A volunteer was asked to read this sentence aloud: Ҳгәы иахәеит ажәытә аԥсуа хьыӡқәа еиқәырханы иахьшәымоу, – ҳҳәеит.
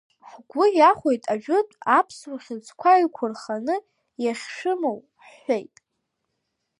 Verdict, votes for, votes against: rejected, 0, 2